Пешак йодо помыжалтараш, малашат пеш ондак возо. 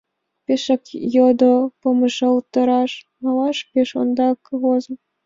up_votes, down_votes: 1, 4